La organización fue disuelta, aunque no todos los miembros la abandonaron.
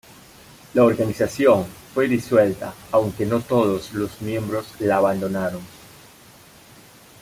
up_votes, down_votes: 2, 0